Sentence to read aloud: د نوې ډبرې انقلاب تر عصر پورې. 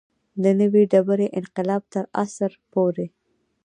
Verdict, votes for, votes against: rejected, 0, 2